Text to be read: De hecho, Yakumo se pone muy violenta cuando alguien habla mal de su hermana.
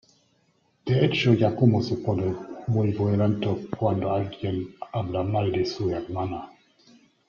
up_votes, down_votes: 0, 2